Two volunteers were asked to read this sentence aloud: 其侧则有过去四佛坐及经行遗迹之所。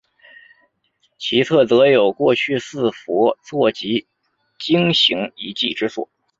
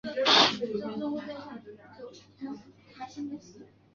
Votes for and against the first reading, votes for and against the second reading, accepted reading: 2, 0, 1, 6, first